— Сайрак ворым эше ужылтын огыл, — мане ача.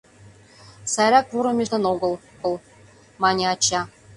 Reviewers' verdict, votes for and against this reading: rejected, 0, 2